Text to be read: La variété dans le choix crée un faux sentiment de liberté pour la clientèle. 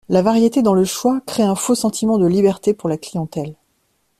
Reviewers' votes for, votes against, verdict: 2, 0, accepted